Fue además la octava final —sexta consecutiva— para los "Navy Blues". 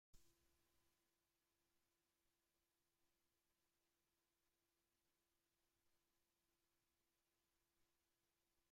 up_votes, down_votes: 0, 2